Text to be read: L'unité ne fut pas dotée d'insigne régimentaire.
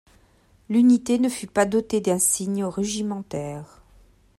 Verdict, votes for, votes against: rejected, 0, 2